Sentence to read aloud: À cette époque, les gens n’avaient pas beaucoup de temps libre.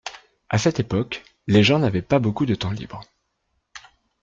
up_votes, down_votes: 2, 0